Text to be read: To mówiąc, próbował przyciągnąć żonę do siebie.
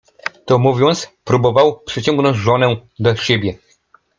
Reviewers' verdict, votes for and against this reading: accepted, 2, 0